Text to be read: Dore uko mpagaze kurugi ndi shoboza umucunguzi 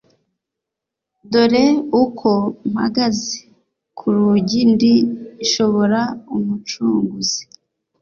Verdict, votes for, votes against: rejected, 1, 2